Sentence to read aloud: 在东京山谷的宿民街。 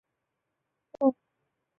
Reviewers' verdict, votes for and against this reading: rejected, 0, 2